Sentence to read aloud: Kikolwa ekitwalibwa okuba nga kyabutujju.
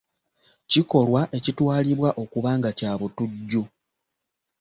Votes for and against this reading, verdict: 2, 0, accepted